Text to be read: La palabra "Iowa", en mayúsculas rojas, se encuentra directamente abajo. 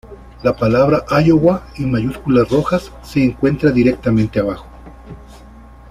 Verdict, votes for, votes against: accepted, 2, 0